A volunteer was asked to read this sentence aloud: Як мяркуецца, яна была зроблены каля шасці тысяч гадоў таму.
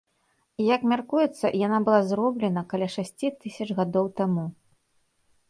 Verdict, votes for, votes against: rejected, 0, 2